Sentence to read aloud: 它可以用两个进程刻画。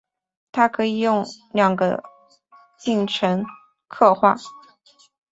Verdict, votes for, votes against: accepted, 3, 1